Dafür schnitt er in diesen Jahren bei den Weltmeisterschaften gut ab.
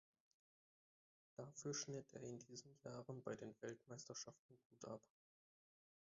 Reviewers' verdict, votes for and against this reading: rejected, 1, 2